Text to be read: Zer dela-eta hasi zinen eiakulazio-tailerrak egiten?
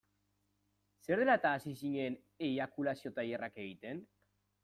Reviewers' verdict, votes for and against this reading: accepted, 2, 0